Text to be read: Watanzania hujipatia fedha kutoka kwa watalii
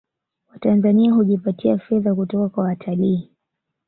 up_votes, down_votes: 2, 0